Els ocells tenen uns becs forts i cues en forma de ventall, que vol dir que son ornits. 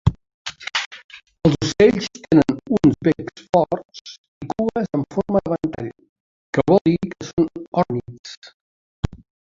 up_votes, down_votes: 1, 2